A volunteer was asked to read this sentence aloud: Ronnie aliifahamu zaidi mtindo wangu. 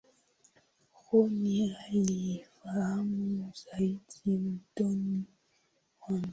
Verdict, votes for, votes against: rejected, 0, 2